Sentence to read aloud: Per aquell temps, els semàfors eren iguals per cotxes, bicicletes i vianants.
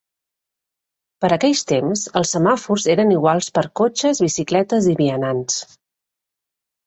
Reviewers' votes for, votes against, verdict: 0, 2, rejected